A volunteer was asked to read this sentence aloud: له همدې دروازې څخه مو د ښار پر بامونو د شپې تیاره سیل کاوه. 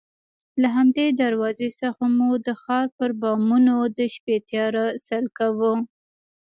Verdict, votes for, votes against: accepted, 2, 0